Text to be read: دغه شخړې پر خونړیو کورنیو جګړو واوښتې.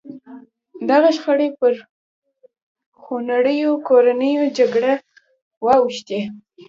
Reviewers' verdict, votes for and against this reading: rejected, 1, 2